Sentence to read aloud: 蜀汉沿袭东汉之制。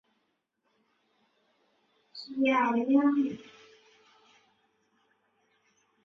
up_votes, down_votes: 0, 2